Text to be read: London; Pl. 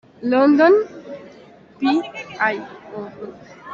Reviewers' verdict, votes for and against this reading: rejected, 0, 2